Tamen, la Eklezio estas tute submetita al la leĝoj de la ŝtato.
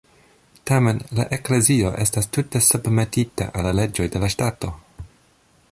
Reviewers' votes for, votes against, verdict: 2, 1, accepted